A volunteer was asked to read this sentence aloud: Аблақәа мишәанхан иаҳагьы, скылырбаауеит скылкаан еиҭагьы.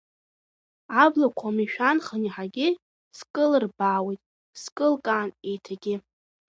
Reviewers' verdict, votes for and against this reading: rejected, 0, 2